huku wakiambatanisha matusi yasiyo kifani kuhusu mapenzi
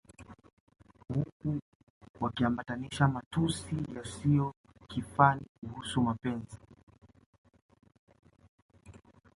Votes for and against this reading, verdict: 0, 2, rejected